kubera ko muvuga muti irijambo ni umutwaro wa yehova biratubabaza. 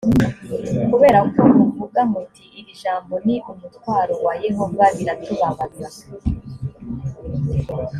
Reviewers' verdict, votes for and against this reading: accepted, 2, 0